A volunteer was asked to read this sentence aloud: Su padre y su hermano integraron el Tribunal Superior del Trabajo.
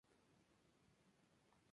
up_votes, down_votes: 0, 2